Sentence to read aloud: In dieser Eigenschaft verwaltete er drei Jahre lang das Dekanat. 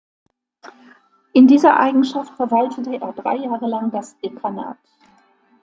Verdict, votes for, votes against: rejected, 0, 2